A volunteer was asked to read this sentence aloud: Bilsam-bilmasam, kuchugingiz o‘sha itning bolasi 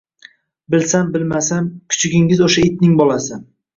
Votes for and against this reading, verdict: 1, 2, rejected